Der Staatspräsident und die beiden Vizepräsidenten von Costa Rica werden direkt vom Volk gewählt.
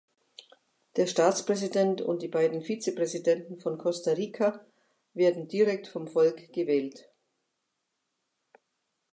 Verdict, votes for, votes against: accepted, 2, 0